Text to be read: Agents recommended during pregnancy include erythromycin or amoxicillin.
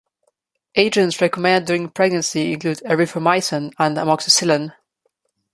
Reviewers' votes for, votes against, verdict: 1, 2, rejected